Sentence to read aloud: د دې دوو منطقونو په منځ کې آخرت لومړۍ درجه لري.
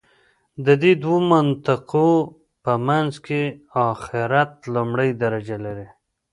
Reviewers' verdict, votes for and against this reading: rejected, 0, 2